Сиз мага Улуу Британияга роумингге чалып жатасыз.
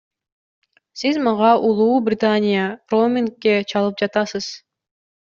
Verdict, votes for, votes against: rejected, 0, 2